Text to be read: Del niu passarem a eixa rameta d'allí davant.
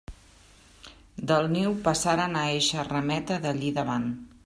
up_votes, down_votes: 1, 3